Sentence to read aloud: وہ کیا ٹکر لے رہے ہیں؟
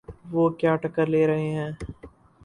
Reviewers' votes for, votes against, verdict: 0, 2, rejected